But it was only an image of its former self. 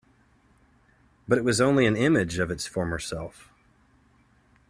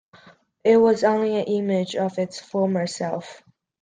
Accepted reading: first